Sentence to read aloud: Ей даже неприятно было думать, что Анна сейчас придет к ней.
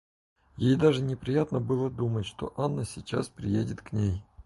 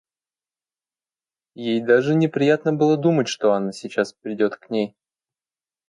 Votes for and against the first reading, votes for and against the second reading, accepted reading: 0, 4, 2, 0, second